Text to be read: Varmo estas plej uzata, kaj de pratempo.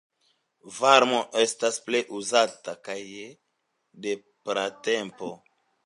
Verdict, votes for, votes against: accepted, 2, 1